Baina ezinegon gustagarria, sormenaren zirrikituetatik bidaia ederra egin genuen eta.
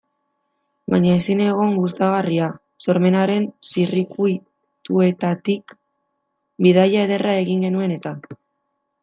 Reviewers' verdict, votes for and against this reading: rejected, 0, 2